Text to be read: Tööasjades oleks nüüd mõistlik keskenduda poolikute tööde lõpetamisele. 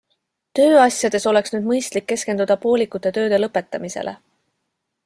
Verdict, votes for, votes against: accepted, 2, 0